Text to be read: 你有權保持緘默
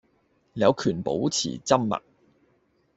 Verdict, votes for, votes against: rejected, 0, 2